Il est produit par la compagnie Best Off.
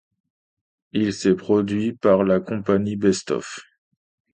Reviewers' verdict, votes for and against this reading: rejected, 0, 2